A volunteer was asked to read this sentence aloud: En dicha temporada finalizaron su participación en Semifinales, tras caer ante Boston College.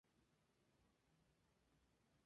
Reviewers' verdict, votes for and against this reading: rejected, 2, 2